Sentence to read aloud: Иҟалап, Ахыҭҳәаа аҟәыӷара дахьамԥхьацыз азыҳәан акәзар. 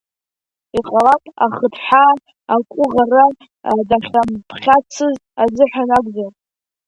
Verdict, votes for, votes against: rejected, 1, 2